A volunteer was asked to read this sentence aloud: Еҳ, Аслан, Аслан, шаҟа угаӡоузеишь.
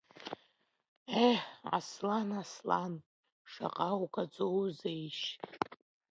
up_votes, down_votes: 3, 0